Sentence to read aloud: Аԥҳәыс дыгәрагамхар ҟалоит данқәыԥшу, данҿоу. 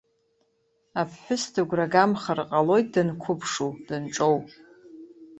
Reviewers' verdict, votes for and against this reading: accepted, 2, 0